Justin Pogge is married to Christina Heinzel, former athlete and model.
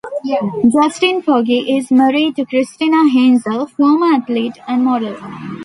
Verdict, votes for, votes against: accepted, 2, 0